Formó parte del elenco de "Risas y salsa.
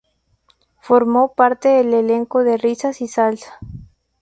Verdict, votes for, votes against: accepted, 2, 0